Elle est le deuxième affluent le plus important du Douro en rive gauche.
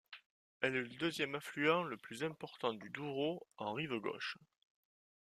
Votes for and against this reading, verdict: 2, 0, accepted